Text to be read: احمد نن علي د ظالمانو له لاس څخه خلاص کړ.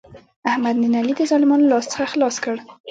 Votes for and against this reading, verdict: 0, 2, rejected